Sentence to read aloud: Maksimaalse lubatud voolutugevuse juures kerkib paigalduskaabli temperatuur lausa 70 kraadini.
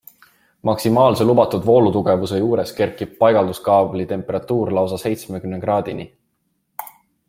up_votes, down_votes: 0, 2